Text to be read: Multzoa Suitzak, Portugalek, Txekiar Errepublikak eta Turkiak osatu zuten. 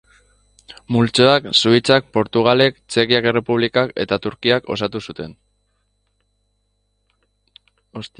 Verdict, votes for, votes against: rejected, 0, 2